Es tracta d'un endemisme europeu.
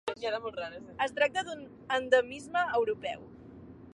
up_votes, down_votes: 1, 2